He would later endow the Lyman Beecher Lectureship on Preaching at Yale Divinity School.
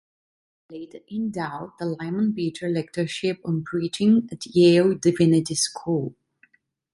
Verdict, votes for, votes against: rejected, 0, 2